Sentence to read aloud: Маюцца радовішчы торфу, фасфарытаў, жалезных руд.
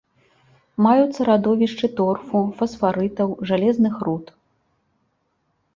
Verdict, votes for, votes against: accepted, 3, 0